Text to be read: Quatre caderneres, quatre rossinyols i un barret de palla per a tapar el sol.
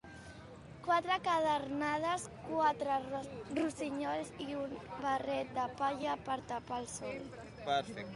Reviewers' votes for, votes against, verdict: 1, 2, rejected